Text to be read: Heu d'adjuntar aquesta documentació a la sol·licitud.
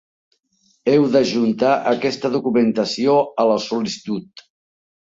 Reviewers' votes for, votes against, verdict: 0, 2, rejected